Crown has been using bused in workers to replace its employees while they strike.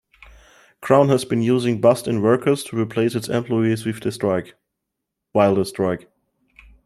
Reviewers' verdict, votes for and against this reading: rejected, 0, 2